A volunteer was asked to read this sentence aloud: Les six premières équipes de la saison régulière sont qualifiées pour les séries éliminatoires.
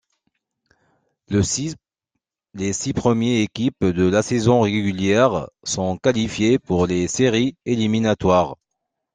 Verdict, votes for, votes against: rejected, 1, 2